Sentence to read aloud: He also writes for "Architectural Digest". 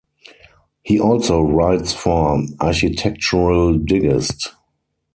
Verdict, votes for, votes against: rejected, 0, 4